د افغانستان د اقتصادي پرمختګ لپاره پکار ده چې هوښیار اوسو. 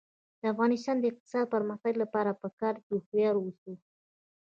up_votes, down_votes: 0, 2